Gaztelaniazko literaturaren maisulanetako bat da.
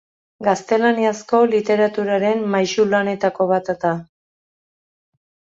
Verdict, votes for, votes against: accepted, 2, 1